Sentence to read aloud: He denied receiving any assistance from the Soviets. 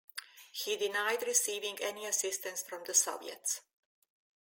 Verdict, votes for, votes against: accepted, 2, 0